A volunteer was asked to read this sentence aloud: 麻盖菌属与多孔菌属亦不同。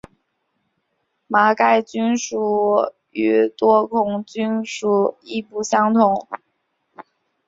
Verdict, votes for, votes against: accepted, 2, 0